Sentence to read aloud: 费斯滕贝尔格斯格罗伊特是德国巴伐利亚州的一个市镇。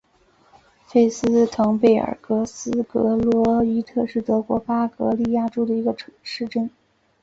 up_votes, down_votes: 2, 0